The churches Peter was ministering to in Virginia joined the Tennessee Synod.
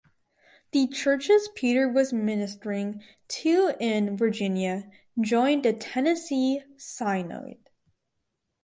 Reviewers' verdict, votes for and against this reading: accepted, 4, 2